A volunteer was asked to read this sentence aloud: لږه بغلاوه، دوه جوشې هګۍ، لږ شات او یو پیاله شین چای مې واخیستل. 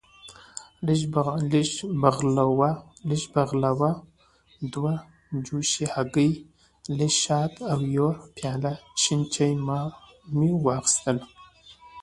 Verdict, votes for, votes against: accepted, 2, 1